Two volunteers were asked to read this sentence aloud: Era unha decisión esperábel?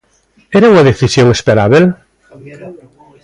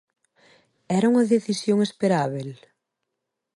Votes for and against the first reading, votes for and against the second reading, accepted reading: 1, 2, 2, 0, second